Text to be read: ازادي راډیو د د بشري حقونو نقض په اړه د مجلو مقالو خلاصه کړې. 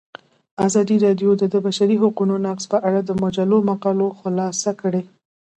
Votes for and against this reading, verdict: 2, 0, accepted